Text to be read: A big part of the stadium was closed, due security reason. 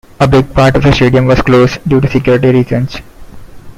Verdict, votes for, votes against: rejected, 0, 2